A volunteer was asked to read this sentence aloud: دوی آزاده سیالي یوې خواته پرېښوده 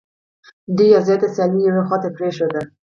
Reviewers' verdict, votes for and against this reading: accepted, 4, 0